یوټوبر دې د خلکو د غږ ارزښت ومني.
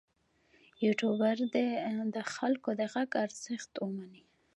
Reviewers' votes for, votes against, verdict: 1, 2, rejected